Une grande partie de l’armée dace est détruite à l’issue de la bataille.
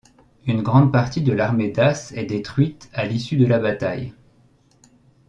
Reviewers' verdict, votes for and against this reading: accepted, 2, 0